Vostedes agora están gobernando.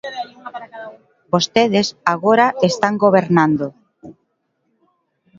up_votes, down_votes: 0, 2